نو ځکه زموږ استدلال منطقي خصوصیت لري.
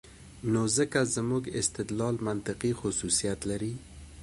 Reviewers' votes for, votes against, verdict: 0, 2, rejected